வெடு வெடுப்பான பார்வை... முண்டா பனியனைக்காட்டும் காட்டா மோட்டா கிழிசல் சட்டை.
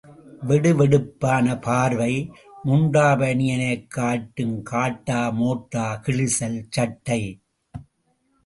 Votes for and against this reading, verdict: 2, 0, accepted